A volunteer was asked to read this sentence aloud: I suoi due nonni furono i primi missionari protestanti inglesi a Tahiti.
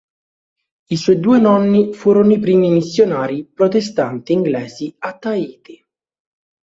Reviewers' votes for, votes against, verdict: 3, 0, accepted